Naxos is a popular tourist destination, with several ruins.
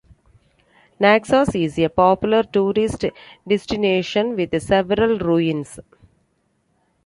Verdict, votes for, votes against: accepted, 2, 1